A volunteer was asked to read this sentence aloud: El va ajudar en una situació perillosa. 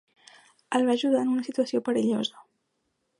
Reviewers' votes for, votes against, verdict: 2, 0, accepted